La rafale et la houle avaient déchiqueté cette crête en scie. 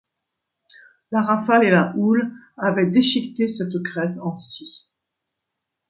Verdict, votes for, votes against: accepted, 2, 0